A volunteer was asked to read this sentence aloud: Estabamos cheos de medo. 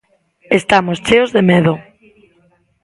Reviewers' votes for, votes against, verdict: 0, 2, rejected